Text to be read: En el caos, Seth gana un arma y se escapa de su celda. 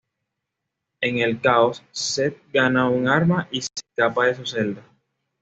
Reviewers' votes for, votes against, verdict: 2, 0, accepted